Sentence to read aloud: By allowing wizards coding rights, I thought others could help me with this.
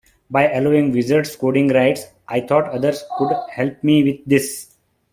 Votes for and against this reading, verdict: 2, 0, accepted